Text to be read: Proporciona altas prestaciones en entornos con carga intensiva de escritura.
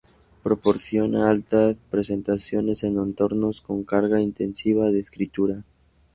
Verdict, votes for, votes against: rejected, 0, 2